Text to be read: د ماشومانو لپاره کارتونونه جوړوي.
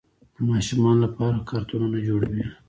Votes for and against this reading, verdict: 1, 2, rejected